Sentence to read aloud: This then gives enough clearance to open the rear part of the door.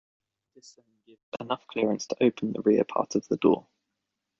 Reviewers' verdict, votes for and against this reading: rejected, 0, 2